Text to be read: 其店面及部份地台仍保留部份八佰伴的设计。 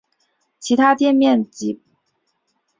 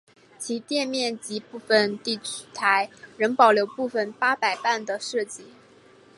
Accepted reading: second